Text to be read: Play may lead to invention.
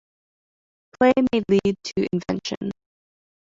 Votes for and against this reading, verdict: 2, 1, accepted